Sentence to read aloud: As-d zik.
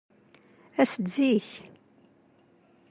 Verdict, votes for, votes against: accepted, 2, 0